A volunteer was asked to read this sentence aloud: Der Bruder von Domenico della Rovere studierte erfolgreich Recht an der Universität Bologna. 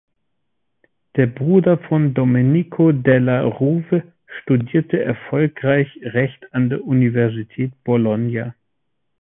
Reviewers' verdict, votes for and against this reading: rejected, 1, 2